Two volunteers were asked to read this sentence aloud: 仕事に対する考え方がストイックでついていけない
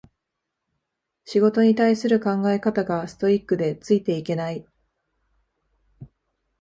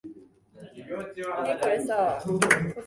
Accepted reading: first